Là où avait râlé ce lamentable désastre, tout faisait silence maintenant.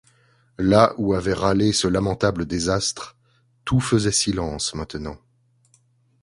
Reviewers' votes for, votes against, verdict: 2, 0, accepted